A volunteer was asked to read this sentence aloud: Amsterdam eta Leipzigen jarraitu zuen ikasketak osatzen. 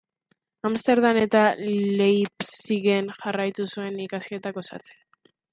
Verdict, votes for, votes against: rejected, 0, 2